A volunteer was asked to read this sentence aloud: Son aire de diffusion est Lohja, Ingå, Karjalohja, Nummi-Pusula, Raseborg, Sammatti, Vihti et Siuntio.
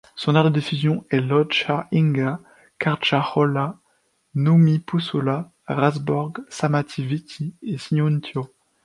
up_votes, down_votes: 2, 0